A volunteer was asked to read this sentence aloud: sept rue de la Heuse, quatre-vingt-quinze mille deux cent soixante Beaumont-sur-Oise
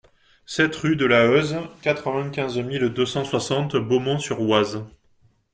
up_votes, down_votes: 2, 0